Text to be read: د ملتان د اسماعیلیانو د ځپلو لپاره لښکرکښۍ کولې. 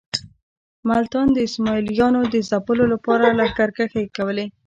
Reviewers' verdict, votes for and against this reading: rejected, 0, 2